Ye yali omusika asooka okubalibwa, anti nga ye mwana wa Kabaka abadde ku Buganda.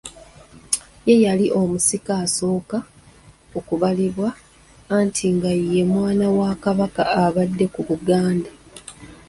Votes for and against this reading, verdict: 2, 0, accepted